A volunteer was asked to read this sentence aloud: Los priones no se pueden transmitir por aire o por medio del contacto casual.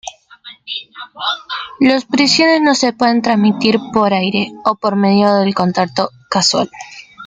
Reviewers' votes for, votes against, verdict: 1, 2, rejected